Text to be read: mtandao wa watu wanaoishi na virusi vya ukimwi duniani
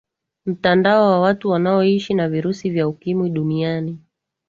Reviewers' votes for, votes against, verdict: 2, 1, accepted